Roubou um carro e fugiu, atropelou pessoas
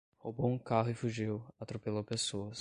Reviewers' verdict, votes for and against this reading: accepted, 5, 0